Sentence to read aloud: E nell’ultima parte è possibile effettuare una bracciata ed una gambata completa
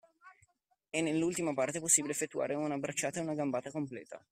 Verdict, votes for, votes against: accepted, 2, 0